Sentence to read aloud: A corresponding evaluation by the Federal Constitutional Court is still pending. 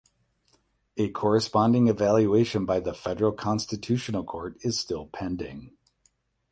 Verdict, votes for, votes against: accepted, 8, 0